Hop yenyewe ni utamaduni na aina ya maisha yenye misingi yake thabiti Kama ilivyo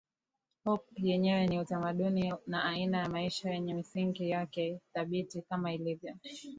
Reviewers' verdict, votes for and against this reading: rejected, 0, 2